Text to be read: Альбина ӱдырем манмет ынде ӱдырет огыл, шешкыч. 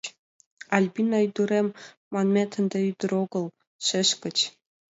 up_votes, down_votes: 2, 1